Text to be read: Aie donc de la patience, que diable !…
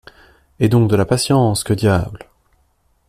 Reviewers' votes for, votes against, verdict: 2, 0, accepted